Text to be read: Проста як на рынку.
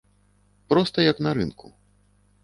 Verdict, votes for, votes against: accepted, 2, 0